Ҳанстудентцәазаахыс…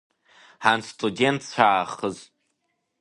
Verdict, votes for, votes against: rejected, 1, 2